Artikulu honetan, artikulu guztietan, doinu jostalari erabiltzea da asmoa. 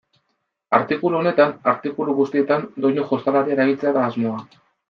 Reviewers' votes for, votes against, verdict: 2, 0, accepted